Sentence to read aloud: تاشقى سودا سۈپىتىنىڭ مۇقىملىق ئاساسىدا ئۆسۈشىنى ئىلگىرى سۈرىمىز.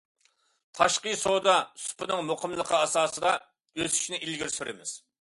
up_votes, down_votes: 0, 2